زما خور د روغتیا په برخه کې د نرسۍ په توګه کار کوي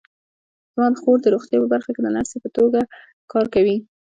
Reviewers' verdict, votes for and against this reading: accepted, 2, 0